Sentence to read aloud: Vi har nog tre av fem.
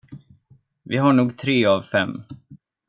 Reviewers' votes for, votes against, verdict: 2, 0, accepted